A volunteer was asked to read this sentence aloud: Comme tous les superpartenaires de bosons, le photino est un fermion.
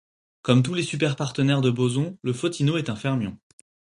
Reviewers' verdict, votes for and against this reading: accepted, 4, 0